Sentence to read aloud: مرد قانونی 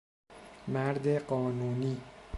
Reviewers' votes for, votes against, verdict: 2, 0, accepted